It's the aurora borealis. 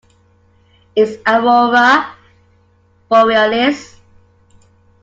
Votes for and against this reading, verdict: 1, 2, rejected